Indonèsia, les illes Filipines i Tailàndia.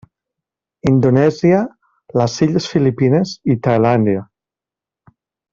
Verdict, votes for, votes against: rejected, 0, 2